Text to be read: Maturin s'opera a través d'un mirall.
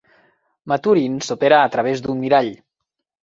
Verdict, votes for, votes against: accepted, 3, 0